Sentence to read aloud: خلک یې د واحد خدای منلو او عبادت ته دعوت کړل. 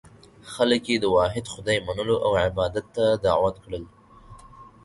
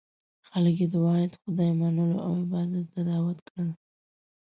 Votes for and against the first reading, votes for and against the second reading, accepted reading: 4, 0, 0, 2, first